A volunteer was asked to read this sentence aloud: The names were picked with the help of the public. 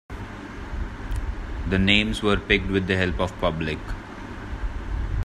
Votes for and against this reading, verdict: 0, 2, rejected